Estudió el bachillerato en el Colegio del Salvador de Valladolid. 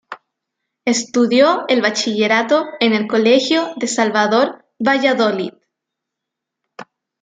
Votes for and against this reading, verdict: 0, 2, rejected